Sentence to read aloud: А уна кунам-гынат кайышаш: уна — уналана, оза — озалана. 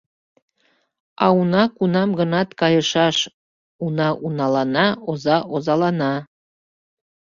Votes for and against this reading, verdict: 2, 0, accepted